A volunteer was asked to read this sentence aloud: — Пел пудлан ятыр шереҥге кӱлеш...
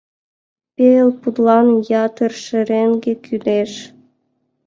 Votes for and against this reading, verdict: 2, 0, accepted